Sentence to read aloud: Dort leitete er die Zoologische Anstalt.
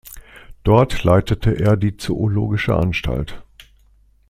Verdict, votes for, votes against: accepted, 2, 0